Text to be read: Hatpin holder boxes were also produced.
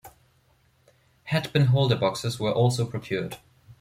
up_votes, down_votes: 0, 2